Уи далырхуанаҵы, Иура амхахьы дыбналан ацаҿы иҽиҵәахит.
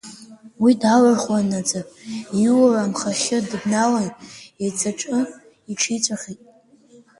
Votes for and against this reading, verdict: 0, 2, rejected